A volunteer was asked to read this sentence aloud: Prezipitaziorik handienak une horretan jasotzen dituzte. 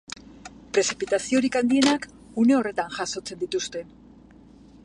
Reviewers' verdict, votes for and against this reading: accepted, 2, 1